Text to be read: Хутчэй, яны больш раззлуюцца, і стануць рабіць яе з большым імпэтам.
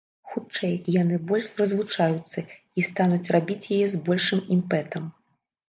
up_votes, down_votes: 0, 2